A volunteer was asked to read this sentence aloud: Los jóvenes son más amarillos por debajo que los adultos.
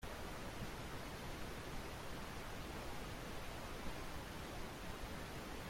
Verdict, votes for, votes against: rejected, 0, 2